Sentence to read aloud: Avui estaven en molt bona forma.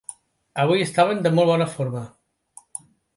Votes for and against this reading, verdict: 1, 2, rejected